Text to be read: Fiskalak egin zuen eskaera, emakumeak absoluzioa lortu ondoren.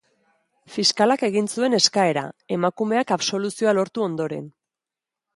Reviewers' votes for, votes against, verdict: 3, 1, accepted